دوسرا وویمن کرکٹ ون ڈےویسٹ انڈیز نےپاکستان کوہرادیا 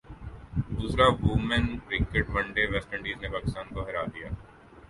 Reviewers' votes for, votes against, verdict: 4, 1, accepted